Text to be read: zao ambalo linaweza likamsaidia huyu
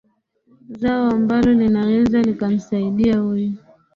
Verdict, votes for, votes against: accepted, 6, 2